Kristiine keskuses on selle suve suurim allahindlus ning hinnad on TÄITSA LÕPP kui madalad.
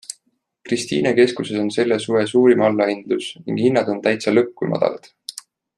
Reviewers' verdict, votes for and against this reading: accepted, 2, 0